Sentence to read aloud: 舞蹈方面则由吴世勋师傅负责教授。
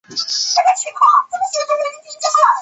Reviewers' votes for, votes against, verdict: 2, 5, rejected